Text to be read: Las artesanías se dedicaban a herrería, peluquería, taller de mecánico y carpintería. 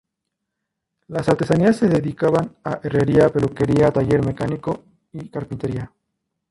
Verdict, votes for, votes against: rejected, 2, 2